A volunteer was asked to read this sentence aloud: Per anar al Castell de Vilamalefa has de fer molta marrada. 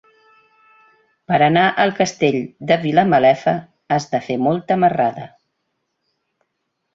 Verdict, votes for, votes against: accepted, 2, 0